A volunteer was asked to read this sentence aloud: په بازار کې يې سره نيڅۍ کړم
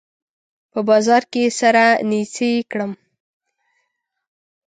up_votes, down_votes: 0, 2